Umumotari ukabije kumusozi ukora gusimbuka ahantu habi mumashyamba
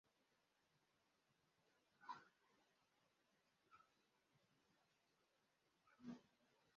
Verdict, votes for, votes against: rejected, 0, 2